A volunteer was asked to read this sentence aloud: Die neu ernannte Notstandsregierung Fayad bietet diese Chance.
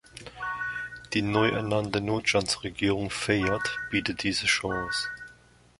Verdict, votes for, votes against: accepted, 2, 1